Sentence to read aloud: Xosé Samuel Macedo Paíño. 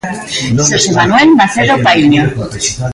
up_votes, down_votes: 1, 2